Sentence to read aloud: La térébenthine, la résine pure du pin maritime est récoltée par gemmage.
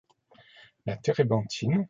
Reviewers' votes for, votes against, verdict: 0, 2, rejected